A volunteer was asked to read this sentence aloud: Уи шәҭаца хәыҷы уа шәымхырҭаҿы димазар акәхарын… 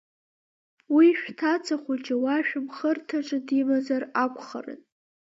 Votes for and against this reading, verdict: 2, 0, accepted